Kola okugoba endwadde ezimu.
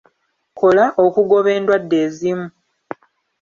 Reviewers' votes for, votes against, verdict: 2, 0, accepted